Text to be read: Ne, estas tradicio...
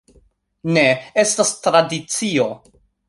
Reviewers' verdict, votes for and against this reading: accepted, 2, 1